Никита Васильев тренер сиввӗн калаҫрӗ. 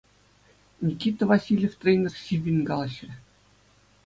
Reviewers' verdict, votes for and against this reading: accepted, 2, 0